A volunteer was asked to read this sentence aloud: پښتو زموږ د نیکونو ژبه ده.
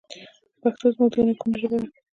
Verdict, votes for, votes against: accepted, 2, 1